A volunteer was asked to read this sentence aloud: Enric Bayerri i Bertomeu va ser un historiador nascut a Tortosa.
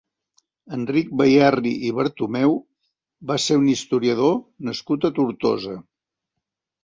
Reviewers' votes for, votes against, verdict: 2, 0, accepted